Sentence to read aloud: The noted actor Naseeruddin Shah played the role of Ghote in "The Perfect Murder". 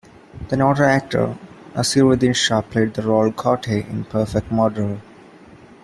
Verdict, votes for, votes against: rejected, 0, 2